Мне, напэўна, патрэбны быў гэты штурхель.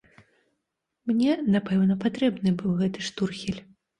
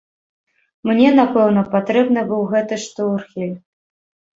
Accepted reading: first